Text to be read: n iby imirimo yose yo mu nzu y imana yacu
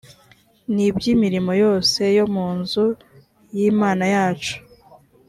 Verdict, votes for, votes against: accepted, 3, 0